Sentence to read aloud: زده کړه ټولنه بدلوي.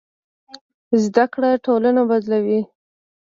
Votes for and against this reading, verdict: 1, 2, rejected